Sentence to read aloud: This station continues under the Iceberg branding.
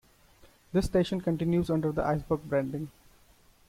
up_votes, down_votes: 0, 2